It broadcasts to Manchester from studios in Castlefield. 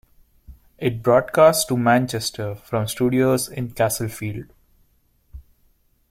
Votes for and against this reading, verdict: 2, 1, accepted